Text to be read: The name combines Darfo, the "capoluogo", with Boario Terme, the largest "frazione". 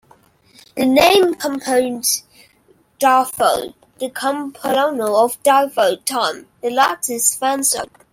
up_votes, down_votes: 0, 3